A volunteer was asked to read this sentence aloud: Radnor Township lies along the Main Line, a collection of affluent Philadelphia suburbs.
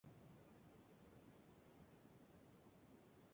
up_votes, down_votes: 0, 2